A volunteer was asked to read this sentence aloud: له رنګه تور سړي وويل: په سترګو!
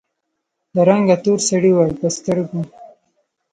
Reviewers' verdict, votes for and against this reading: rejected, 1, 2